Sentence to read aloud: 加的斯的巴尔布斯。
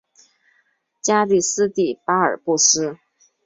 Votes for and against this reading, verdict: 2, 0, accepted